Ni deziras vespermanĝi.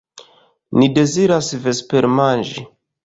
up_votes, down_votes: 1, 2